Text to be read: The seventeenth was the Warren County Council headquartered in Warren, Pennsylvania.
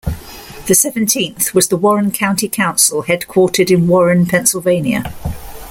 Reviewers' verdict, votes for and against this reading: accepted, 2, 0